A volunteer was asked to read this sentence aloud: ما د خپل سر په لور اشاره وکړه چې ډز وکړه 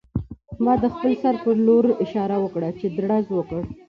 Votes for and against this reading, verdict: 2, 1, accepted